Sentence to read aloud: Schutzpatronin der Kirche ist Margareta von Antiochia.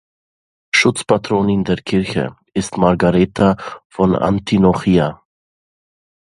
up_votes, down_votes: 0, 2